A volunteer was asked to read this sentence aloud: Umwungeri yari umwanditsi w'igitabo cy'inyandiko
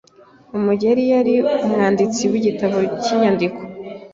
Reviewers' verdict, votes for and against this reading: rejected, 0, 2